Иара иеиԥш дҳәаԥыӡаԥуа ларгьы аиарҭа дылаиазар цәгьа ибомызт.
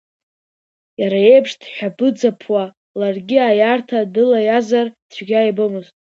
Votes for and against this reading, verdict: 2, 0, accepted